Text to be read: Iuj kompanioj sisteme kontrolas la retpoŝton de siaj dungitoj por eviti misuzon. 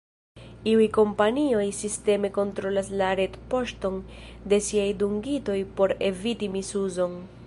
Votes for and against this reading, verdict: 1, 2, rejected